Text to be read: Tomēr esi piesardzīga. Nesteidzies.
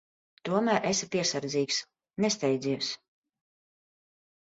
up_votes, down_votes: 0, 3